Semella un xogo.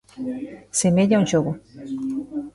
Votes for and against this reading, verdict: 1, 2, rejected